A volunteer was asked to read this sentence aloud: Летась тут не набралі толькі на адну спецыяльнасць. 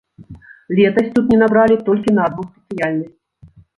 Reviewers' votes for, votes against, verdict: 0, 2, rejected